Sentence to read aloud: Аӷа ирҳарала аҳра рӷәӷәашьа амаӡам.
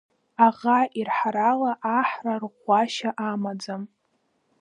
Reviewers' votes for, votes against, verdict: 0, 2, rejected